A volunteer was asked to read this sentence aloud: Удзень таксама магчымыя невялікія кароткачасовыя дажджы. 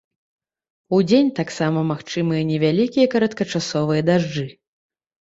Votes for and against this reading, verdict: 2, 0, accepted